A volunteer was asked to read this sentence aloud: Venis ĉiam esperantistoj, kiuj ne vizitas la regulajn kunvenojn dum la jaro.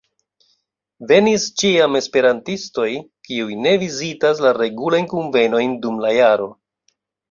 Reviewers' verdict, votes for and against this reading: accepted, 2, 0